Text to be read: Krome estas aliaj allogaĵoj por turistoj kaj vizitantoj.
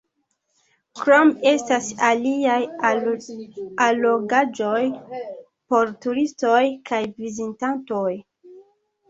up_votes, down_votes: 1, 2